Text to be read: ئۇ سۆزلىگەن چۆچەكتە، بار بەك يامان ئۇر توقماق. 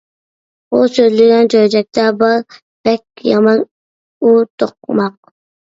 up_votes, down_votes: 2, 0